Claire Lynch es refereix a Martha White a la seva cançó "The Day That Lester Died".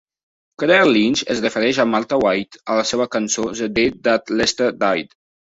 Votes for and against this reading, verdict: 2, 0, accepted